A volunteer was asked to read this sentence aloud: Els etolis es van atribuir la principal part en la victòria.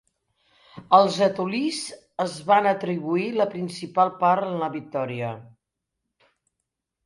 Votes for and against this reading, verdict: 1, 2, rejected